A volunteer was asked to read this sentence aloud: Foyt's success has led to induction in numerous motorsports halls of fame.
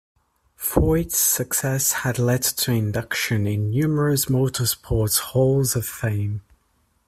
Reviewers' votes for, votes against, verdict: 0, 2, rejected